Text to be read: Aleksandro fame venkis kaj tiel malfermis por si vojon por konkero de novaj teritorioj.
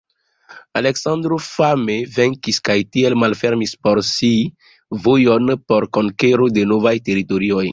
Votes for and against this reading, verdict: 2, 0, accepted